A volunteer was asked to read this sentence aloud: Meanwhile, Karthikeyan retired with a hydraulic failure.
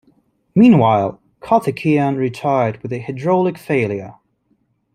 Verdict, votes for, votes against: accepted, 2, 0